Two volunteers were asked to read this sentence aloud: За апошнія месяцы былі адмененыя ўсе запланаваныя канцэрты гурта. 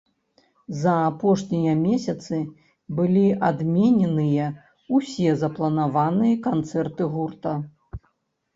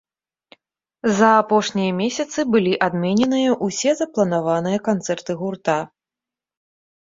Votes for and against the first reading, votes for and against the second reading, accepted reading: 0, 2, 2, 0, second